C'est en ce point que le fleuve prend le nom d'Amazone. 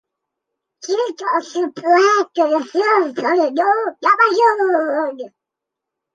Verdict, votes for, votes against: rejected, 0, 2